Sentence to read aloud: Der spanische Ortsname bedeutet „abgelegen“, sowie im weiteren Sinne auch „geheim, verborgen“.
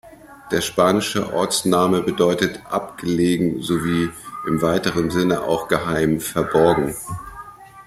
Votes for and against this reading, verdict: 2, 0, accepted